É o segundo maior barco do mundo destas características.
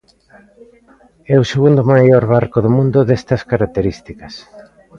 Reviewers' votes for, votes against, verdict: 2, 0, accepted